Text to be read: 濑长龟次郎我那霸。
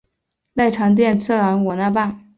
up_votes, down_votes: 4, 0